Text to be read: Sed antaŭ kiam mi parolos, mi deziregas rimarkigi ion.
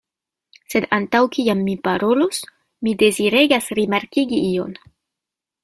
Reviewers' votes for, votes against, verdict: 1, 2, rejected